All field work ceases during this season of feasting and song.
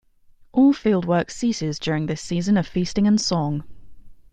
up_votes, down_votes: 2, 0